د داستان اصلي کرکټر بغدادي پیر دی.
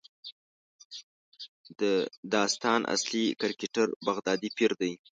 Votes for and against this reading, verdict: 1, 2, rejected